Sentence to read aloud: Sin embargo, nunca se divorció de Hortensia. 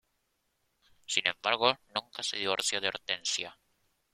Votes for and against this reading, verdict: 0, 3, rejected